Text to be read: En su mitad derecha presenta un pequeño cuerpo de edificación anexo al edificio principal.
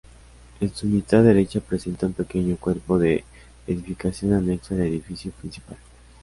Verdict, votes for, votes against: accepted, 2, 1